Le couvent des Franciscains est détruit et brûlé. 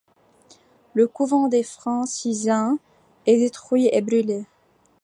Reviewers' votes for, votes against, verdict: 1, 2, rejected